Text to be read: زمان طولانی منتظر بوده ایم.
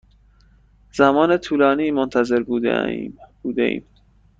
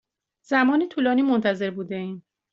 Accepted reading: second